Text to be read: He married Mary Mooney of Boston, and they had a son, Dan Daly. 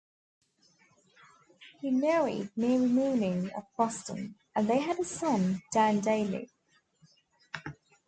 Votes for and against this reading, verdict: 2, 1, accepted